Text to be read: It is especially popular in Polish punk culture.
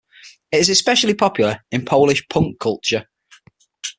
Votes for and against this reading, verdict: 6, 0, accepted